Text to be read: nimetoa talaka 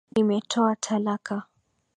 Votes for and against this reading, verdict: 2, 0, accepted